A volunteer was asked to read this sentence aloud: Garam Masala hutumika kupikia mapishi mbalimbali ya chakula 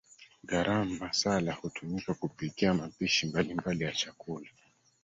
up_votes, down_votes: 2, 1